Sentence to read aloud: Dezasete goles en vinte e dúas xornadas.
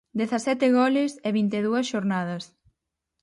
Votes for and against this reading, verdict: 4, 2, accepted